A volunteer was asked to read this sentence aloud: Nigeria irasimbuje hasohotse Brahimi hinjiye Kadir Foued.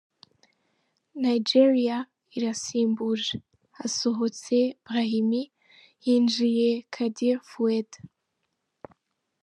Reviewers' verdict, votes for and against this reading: accepted, 2, 0